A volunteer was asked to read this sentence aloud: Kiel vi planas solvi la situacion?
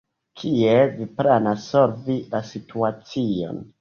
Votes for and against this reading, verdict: 2, 0, accepted